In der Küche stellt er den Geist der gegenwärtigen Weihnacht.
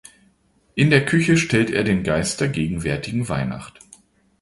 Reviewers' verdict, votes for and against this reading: accepted, 2, 0